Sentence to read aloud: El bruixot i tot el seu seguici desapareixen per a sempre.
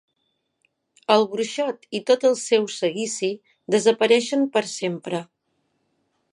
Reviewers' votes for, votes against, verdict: 2, 3, rejected